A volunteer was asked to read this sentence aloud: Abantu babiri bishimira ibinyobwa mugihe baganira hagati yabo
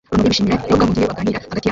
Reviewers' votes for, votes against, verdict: 0, 2, rejected